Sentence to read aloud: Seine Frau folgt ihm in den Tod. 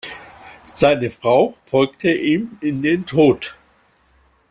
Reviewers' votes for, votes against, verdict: 1, 2, rejected